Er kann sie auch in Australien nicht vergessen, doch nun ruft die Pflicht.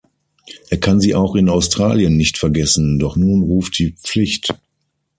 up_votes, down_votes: 6, 0